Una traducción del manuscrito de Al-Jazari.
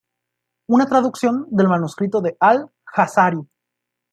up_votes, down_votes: 2, 0